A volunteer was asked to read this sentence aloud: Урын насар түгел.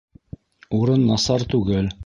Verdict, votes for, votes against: rejected, 1, 2